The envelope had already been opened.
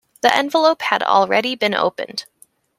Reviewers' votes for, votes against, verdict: 2, 0, accepted